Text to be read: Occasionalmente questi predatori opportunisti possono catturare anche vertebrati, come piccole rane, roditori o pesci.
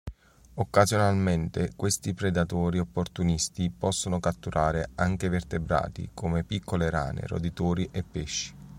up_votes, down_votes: 3, 4